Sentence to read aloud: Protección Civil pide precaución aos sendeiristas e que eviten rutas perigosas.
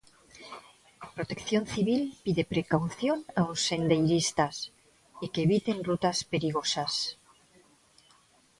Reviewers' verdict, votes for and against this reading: accepted, 2, 1